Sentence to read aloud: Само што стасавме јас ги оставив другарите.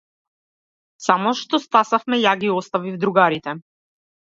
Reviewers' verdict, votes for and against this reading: rejected, 1, 2